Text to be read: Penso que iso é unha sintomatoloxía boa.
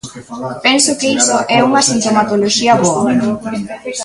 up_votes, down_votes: 0, 2